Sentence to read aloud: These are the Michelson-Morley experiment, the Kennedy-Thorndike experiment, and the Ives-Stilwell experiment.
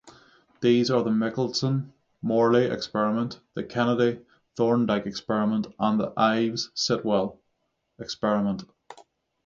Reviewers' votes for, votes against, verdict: 3, 3, rejected